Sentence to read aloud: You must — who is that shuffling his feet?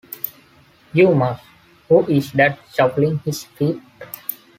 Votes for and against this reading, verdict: 1, 3, rejected